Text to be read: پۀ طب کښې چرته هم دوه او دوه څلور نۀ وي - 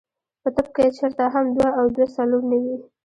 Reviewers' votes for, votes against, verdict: 1, 2, rejected